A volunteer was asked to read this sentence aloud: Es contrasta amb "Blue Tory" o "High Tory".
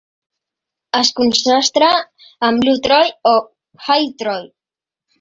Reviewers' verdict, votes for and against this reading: rejected, 0, 3